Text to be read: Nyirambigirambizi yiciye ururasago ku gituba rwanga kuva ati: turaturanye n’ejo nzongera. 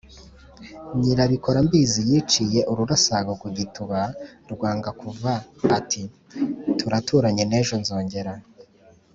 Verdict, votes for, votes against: accepted, 5, 0